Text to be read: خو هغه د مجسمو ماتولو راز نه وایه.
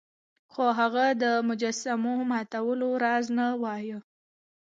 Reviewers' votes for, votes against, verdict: 2, 0, accepted